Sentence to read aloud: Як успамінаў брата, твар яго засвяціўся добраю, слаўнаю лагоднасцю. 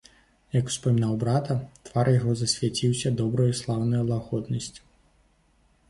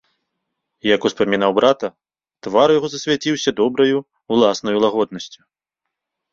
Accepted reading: first